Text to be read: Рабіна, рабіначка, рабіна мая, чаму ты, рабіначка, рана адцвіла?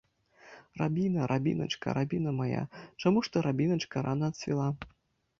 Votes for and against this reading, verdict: 1, 2, rejected